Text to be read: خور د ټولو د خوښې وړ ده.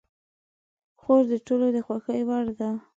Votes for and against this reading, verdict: 2, 0, accepted